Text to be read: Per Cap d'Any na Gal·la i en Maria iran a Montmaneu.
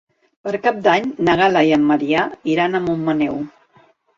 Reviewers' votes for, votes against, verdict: 1, 2, rejected